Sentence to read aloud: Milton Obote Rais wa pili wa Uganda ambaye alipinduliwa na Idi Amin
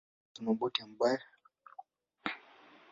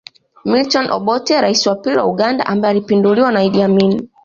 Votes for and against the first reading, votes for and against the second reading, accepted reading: 1, 2, 2, 1, second